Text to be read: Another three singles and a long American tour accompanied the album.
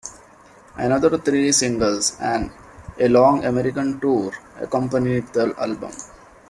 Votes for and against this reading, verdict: 2, 0, accepted